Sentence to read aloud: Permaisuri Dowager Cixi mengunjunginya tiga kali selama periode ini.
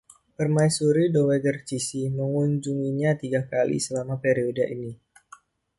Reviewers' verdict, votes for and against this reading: accepted, 2, 0